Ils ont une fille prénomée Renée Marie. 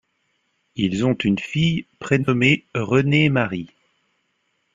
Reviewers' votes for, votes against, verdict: 2, 0, accepted